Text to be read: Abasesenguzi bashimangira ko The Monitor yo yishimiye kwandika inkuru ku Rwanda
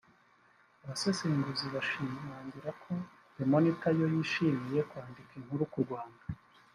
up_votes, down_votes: 1, 2